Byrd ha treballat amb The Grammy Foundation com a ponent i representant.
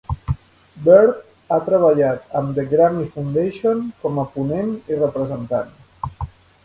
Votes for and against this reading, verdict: 3, 0, accepted